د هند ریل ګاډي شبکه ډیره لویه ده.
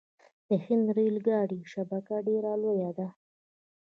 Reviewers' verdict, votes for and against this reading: accepted, 2, 0